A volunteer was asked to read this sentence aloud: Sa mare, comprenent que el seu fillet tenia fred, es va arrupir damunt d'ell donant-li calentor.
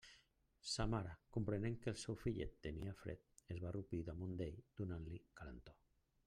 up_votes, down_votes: 1, 2